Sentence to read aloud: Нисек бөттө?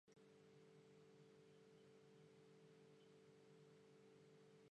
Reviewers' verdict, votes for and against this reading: rejected, 0, 2